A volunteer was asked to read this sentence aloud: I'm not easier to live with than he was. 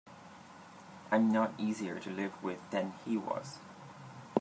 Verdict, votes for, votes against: accepted, 2, 0